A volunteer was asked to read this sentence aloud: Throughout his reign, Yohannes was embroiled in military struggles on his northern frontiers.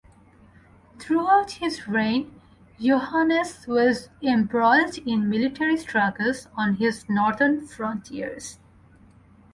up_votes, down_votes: 2, 0